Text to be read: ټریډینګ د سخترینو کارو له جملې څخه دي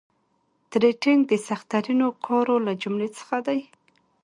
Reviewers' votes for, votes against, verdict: 2, 0, accepted